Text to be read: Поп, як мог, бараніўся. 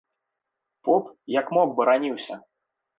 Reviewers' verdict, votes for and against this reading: accepted, 2, 0